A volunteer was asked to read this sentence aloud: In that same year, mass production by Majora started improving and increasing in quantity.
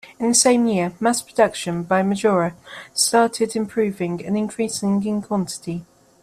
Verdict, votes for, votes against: rejected, 1, 2